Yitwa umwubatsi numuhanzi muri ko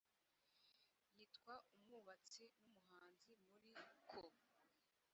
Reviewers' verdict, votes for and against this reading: rejected, 0, 2